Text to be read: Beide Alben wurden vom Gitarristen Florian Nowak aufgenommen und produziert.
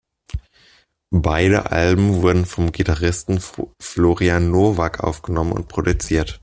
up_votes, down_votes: 2, 0